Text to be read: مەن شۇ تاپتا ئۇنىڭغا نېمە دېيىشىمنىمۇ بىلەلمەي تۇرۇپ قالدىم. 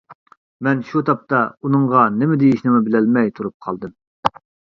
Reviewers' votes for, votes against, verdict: 1, 2, rejected